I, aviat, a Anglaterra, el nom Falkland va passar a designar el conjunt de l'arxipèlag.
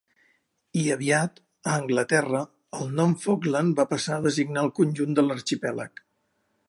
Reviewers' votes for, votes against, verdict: 3, 1, accepted